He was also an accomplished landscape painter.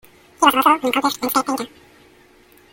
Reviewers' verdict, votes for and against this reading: rejected, 0, 2